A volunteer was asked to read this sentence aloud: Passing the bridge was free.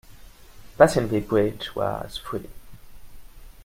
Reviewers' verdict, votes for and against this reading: accepted, 2, 1